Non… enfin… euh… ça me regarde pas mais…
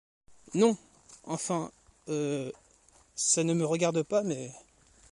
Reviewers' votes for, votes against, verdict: 1, 2, rejected